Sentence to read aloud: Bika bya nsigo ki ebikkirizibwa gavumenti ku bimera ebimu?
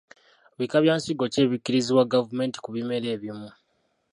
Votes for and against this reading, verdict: 0, 2, rejected